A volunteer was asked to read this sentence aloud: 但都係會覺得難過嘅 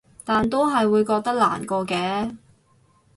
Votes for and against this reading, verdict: 4, 0, accepted